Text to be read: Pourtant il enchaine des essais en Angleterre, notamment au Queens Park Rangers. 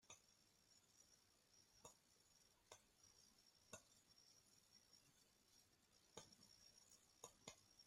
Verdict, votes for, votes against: rejected, 0, 2